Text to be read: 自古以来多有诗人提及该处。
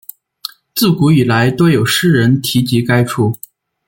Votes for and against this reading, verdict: 2, 0, accepted